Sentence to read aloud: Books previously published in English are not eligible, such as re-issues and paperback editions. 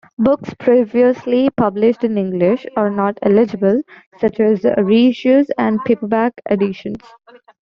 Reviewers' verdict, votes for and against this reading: accepted, 2, 1